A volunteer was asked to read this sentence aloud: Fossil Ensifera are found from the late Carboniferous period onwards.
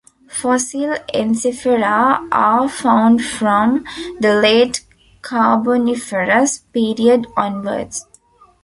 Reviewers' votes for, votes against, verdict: 2, 1, accepted